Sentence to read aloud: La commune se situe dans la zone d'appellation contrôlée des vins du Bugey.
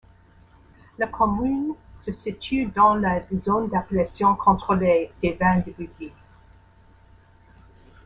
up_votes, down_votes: 1, 2